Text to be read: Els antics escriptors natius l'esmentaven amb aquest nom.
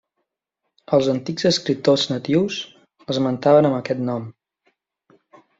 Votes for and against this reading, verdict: 2, 0, accepted